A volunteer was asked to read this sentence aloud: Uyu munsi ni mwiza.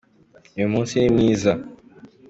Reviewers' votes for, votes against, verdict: 2, 0, accepted